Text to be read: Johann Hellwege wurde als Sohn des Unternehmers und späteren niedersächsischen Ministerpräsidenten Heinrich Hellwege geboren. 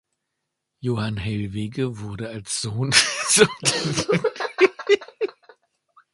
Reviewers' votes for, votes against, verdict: 0, 2, rejected